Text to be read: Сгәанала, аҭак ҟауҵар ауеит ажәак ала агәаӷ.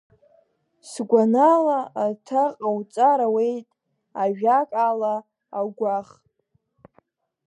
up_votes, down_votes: 1, 2